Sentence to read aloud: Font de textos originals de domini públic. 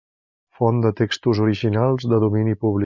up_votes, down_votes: 1, 2